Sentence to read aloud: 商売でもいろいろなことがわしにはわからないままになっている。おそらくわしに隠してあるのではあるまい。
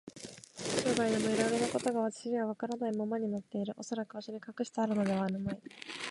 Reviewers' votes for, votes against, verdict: 1, 2, rejected